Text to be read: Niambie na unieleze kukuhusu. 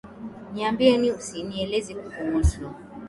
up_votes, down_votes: 0, 2